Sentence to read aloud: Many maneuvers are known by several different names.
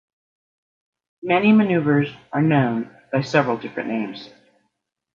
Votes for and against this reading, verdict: 2, 0, accepted